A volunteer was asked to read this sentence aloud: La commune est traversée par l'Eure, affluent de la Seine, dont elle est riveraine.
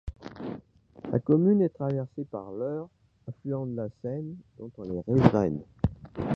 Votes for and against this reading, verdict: 2, 1, accepted